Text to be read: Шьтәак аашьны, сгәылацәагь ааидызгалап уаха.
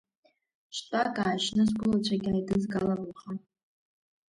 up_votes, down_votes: 2, 0